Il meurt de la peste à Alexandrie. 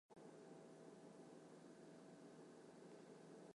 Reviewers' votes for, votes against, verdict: 0, 2, rejected